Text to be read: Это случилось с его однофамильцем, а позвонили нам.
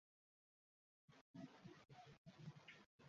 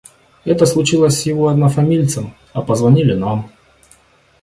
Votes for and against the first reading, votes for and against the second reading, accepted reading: 0, 2, 2, 0, second